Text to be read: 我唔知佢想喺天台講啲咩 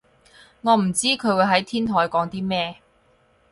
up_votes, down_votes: 0, 4